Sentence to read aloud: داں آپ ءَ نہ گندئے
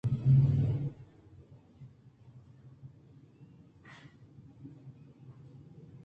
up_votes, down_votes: 2, 0